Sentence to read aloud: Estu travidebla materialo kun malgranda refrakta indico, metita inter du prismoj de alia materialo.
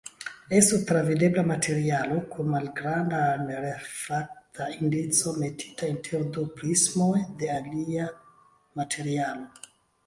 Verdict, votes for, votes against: rejected, 1, 2